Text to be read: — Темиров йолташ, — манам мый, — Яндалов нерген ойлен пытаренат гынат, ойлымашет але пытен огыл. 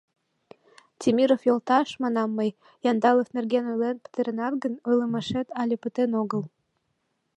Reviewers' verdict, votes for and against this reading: rejected, 0, 2